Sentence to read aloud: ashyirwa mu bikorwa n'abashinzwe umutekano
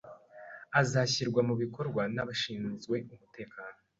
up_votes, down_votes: 2, 0